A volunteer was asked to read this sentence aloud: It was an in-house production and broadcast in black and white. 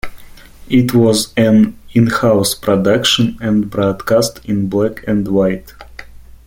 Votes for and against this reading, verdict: 2, 0, accepted